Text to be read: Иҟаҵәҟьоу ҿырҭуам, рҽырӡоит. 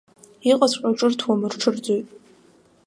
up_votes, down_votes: 2, 0